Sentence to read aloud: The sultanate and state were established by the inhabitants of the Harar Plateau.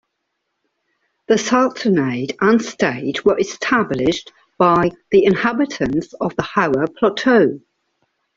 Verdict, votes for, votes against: rejected, 0, 2